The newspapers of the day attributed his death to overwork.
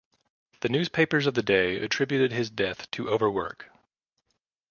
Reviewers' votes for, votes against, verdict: 2, 0, accepted